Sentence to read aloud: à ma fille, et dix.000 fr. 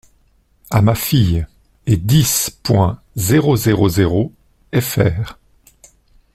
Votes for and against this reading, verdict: 0, 2, rejected